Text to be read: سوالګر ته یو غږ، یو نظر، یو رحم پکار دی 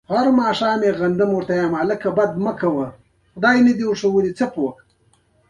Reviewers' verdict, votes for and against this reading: rejected, 0, 2